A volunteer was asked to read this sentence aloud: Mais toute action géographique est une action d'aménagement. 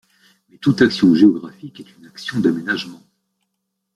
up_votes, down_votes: 2, 0